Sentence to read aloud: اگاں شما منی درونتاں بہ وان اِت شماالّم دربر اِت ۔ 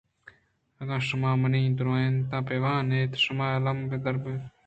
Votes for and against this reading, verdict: 2, 0, accepted